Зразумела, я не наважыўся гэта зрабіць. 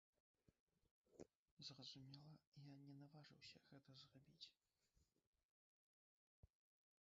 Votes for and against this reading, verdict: 0, 2, rejected